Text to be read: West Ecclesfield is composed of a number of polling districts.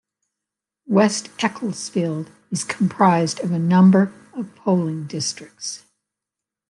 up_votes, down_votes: 1, 2